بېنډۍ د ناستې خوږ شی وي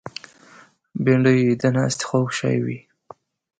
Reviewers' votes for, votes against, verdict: 2, 0, accepted